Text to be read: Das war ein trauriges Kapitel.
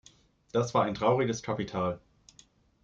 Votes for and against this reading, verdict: 0, 2, rejected